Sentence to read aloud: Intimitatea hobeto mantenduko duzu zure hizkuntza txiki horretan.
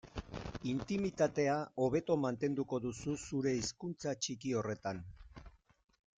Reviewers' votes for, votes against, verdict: 2, 0, accepted